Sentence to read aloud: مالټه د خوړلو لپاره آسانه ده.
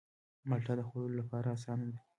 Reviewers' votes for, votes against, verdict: 1, 2, rejected